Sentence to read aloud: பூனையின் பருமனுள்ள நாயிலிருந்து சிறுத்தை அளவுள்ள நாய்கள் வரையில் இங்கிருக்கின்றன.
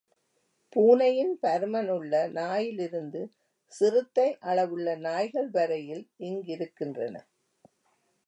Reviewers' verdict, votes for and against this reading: accepted, 2, 0